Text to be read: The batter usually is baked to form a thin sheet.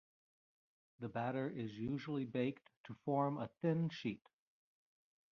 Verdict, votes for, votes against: rejected, 1, 2